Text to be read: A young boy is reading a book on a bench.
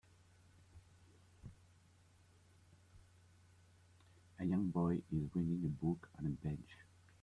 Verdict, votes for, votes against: rejected, 1, 2